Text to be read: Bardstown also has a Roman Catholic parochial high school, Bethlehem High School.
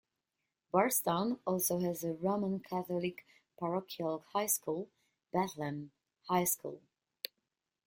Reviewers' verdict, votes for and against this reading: accepted, 2, 0